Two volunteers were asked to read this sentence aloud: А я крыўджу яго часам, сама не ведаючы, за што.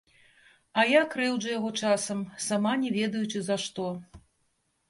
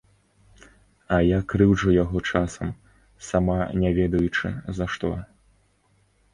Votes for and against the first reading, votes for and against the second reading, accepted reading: 1, 3, 2, 0, second